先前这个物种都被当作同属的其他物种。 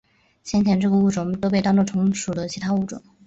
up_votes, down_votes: 2, 0